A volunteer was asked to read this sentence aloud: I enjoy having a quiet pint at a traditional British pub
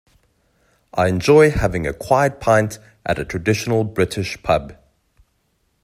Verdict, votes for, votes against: accepted, 2, 0